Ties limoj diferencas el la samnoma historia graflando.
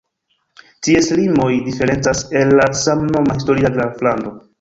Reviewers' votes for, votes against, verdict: 1, 2, rejected